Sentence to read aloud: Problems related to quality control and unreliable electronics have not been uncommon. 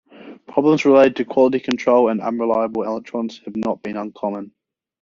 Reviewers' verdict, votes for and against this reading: accepted, 2, 0